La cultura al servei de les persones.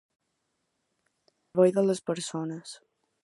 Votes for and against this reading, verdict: 0, 2, rejected